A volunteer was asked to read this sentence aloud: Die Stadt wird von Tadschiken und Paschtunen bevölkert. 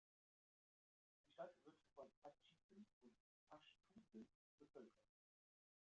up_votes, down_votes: 0, 2